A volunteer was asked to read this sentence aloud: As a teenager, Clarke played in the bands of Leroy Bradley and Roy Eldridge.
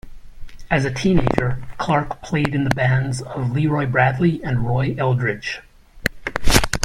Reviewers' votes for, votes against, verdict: 2, 1, accepted